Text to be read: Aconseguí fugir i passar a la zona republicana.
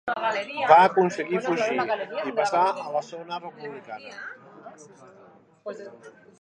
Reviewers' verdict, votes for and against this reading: rejected, 0, 2